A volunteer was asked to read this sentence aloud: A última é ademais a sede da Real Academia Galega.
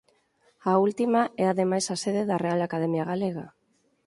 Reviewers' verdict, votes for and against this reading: accepted, 4, 2